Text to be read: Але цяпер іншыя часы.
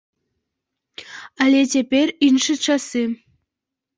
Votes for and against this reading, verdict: 0, 2, rejected